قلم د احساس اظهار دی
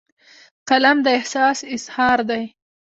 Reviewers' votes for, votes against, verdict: 1, 2, rejected